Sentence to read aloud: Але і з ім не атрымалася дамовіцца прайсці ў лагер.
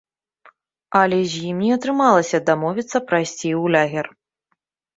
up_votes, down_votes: 0, 2